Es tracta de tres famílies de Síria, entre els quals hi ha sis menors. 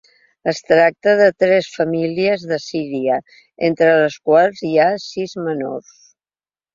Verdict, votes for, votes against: rejected, 1, 2